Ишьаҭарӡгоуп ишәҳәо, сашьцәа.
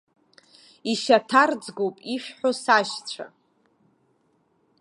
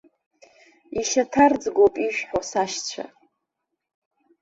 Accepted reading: second